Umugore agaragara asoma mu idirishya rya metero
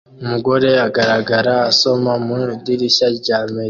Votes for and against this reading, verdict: 1, 2, rejected